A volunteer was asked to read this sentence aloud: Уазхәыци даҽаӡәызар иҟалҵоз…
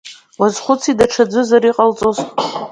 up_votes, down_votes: 2, 0